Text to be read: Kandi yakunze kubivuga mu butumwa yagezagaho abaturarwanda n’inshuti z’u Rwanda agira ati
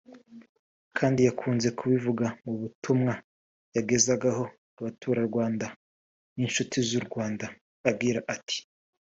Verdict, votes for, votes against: rejected, 0, 2